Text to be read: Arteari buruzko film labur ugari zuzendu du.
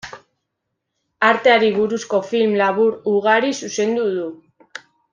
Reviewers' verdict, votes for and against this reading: accepted, 2, 0